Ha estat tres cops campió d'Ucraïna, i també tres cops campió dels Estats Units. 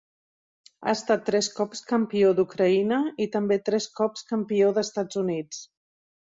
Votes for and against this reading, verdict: 1, 2, rejected